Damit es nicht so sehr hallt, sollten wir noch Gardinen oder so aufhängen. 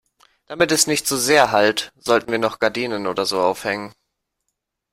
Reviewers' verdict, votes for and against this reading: accepted, 2, 0